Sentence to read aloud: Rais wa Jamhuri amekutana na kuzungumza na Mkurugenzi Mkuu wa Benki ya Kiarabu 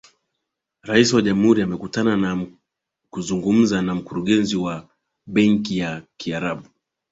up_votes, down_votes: 17, 2